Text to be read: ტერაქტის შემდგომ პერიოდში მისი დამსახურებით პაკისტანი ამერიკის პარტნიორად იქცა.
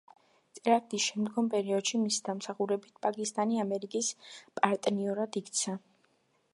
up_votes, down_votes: 2, 1